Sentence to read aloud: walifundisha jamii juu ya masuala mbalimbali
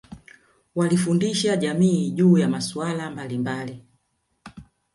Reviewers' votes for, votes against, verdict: 3, 1, accepted